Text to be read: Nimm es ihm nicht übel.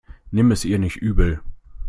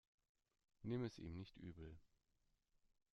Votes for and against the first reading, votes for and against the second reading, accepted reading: 0, 2, 2, 1, second